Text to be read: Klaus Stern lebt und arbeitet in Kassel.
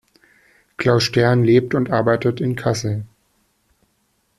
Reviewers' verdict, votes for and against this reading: accepted, 2, 0